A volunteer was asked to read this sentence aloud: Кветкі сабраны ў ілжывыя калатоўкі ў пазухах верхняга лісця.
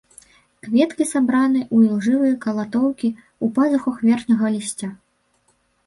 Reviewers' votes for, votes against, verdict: 0, 2, rejected